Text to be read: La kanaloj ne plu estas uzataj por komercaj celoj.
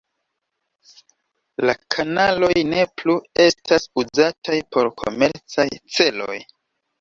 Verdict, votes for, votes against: rejected, 0, 2